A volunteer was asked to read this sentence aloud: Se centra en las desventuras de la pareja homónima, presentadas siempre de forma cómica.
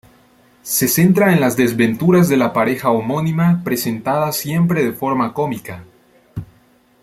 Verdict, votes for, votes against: accepted, 2, 1